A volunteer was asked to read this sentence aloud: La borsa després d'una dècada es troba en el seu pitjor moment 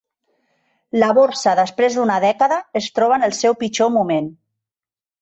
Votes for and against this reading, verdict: 1, 2, rejected